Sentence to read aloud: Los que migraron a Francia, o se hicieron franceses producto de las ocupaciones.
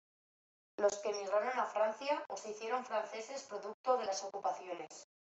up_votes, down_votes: 2, 0